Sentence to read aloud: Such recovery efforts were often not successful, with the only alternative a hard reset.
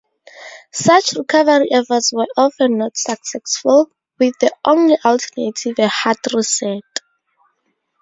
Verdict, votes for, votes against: rejected, 0, 2